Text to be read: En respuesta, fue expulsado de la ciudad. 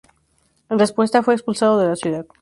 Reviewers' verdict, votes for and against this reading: rejected, 2, 2